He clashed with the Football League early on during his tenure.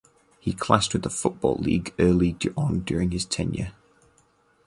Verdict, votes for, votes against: rejected, 2, 4